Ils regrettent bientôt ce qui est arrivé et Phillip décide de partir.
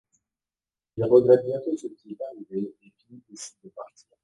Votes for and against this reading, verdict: 0, 2, rejected